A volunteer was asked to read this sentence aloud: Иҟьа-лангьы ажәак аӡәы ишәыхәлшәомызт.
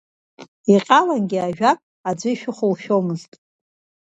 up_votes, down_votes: 2, 0